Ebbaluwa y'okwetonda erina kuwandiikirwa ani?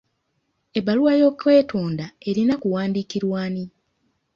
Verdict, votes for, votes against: accepted, 2, 0